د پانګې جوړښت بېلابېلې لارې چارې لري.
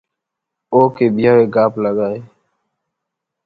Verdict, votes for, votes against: rejected, 1, 2